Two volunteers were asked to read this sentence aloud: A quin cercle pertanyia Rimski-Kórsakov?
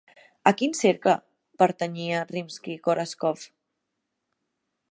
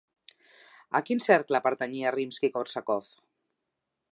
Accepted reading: second